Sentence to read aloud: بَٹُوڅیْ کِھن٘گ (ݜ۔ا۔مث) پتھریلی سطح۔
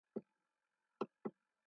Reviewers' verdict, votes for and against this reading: rejected, 0, 2